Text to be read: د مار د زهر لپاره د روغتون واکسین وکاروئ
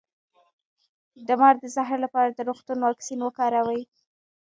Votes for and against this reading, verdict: 1, 2, rejected